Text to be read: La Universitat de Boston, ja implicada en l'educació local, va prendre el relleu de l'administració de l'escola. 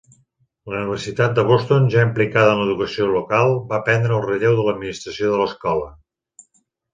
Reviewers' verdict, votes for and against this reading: accepted, 3, 1